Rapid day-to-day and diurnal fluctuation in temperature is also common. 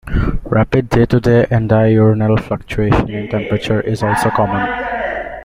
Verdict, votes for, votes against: rejected, 0, 2